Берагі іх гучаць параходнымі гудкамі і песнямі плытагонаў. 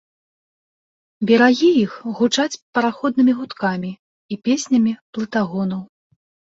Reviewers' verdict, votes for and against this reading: accepted, 2, 0